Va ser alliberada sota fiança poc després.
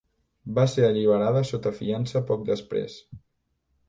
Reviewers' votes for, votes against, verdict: 3, 0, accepted